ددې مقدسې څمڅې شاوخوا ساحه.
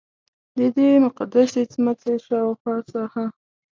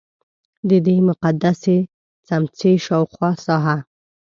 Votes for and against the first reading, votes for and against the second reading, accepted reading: 2, 1, 0, 2, first